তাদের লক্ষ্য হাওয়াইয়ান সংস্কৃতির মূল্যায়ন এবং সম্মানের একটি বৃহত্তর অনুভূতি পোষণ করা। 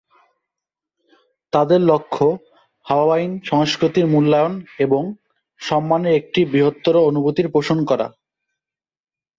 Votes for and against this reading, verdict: 0, 2, rejected